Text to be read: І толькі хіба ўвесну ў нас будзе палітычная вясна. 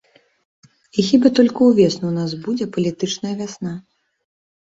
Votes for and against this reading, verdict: 0, 2, rejected